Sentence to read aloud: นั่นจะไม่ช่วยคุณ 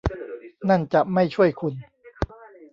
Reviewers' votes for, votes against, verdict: 1, 2, rejected